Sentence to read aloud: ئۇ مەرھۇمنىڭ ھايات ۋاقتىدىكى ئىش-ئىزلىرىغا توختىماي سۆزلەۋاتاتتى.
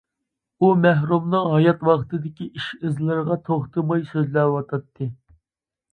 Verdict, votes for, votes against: rejected, 0, 2